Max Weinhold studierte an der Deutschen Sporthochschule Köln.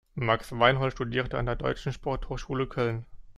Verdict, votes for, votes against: accepted, 2, 0